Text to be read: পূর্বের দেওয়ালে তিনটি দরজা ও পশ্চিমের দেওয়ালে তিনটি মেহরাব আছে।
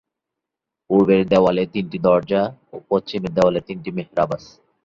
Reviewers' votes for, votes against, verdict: 2, 1, accepted